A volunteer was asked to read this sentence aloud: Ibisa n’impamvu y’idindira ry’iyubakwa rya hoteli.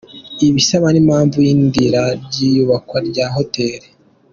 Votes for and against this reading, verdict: 0, 2, rejected